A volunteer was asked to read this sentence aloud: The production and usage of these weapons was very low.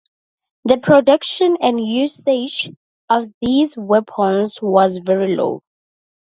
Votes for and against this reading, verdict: 2, 0, accepted